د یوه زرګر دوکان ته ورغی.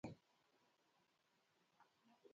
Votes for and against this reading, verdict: 0, 2, rejected